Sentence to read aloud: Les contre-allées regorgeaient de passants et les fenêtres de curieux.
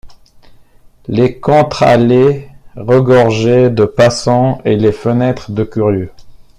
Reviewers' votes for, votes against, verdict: 2, 0, accepted